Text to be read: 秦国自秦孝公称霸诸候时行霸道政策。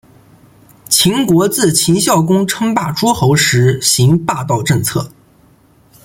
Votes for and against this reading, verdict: 2, 0, accepted